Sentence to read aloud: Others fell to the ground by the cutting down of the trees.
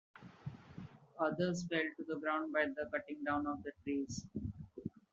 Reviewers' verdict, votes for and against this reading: accepted, 2, 1